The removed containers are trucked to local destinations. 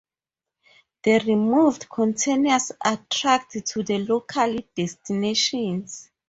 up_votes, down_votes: 0, 2